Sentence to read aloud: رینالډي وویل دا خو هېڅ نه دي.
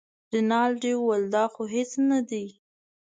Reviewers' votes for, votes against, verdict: 2, 0, accepted